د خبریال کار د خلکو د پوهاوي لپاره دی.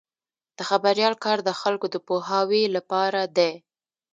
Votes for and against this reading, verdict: 2, 0, accepted